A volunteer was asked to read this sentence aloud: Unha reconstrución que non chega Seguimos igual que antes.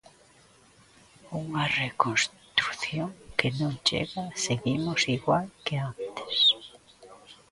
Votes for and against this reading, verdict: 0, 2, rejected